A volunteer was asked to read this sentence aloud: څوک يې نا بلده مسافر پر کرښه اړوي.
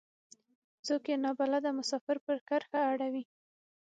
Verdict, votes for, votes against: accepted, 6, 0